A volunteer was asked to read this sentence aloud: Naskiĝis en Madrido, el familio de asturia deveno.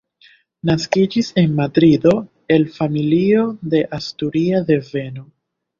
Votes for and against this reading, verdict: 1, 2, rejected